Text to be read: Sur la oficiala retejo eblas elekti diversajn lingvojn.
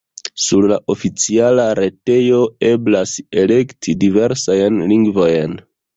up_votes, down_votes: 2, 0